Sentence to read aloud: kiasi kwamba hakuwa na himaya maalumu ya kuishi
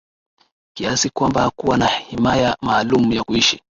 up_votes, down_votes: 6, 0